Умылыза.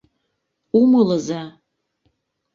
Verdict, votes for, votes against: accepted, 2, 0